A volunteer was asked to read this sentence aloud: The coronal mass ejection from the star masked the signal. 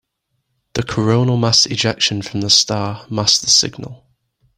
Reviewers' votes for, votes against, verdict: 2, 0, accepted